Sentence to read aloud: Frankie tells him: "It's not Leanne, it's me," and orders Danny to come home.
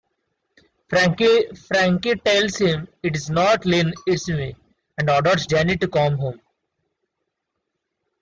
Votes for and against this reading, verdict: 0, 2, rejected